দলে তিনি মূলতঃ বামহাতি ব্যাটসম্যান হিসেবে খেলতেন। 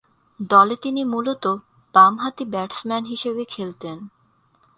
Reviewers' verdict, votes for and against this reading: accepted, 2, 0